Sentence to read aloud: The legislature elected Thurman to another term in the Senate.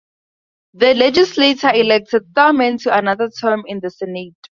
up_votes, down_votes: 2, 0